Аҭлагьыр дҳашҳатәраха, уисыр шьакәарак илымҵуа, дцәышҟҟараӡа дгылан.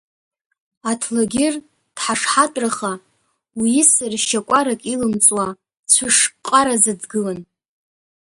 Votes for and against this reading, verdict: 1, 2, rejected